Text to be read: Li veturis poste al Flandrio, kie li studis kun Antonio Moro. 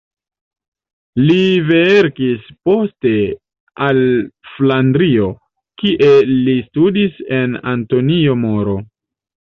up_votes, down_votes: 1, 3